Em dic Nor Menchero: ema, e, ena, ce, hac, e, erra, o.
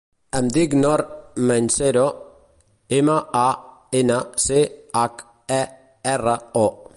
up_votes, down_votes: 0, 4